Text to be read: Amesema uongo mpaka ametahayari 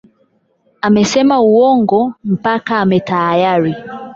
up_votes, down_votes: 0, 8